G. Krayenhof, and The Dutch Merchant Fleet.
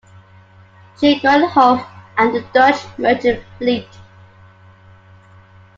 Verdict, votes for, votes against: rejected, 0, 2